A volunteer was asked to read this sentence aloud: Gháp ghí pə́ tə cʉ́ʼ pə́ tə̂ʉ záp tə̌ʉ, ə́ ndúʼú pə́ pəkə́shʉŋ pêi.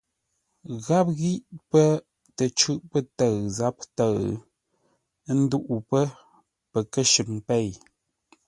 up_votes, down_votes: 2, 0